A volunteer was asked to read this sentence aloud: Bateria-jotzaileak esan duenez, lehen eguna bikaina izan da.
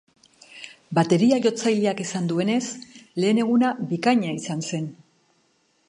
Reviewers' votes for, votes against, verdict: 0, 2, rejected